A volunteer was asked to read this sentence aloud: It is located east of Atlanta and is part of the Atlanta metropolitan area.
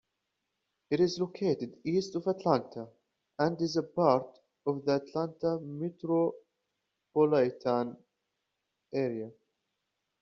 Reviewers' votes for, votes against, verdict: 0, 2, rejected